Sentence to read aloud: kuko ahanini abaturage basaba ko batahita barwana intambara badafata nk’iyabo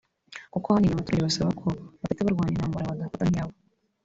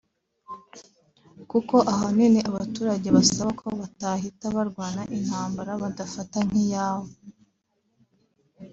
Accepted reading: second